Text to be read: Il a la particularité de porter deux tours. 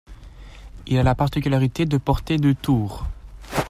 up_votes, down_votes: 2, 0